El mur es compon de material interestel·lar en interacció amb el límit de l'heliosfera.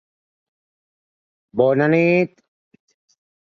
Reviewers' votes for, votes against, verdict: 0, 2, rejected